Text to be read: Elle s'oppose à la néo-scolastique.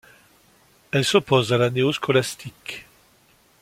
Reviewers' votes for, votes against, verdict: 2, 0, accepted